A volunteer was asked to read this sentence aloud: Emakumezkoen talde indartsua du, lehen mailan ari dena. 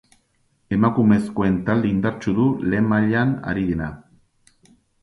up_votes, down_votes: 0, 2